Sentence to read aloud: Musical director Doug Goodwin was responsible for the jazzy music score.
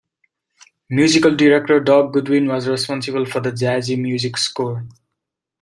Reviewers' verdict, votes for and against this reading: accepted, 2, 0